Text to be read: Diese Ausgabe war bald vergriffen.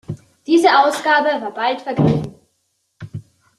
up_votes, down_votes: 2, 0